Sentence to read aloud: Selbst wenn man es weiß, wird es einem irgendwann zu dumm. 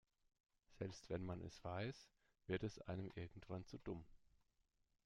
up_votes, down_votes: 0, 2